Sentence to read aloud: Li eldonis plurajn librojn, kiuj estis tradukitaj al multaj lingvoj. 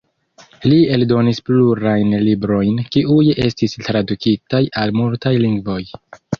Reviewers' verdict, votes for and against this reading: accepted, 2, 0